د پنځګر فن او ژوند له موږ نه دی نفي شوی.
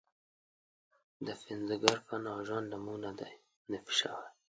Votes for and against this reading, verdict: 2, 1, accepted